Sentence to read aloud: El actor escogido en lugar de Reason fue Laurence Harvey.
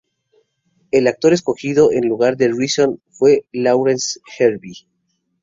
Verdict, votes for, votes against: accepted, 2, 0